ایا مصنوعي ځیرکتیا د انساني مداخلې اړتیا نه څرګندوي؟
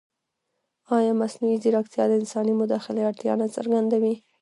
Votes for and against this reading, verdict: 0, 2, rejected